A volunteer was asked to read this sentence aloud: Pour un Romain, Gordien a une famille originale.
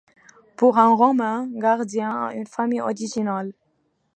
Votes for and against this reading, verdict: 1, 2, rejected